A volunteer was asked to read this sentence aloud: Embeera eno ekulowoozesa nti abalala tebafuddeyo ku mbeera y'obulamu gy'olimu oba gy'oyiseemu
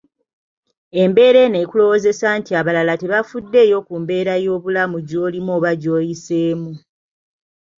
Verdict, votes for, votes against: rejected, 0, 2